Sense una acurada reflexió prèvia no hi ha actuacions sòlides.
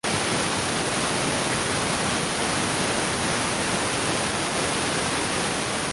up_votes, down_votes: 0, 2